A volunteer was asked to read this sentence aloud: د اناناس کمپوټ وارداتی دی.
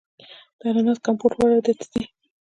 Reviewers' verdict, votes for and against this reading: rejected, 1, 2